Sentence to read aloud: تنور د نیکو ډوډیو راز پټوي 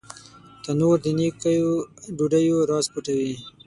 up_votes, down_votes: 0, 6